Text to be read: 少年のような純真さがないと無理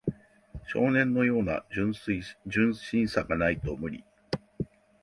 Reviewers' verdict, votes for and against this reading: rejected, 0, 2